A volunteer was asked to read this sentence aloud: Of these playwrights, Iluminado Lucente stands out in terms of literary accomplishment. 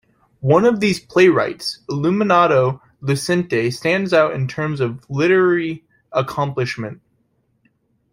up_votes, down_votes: 0, 2